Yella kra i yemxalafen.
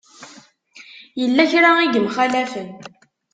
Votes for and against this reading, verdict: 2, 0, accepted